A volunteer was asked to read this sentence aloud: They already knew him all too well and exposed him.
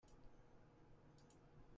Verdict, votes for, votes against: rejected, 0, 2